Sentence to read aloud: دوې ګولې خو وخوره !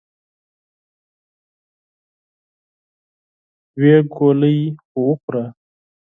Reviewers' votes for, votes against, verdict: 2, 4, rejected